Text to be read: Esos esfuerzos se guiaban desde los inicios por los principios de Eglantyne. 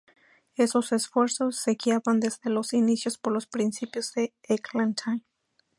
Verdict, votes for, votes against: accepted, 4, 2